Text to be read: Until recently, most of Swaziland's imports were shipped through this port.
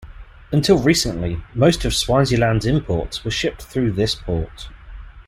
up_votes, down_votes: 2, 0